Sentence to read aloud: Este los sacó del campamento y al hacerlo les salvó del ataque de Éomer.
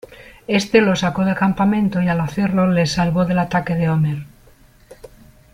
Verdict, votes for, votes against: accepted, 2, 1